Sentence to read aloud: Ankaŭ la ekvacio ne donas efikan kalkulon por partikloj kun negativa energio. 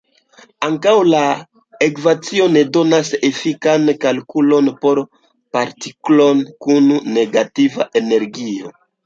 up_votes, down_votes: 1, 2